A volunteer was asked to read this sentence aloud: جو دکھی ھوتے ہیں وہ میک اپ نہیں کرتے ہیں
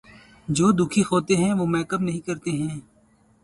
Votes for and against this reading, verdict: 2, 2, rejected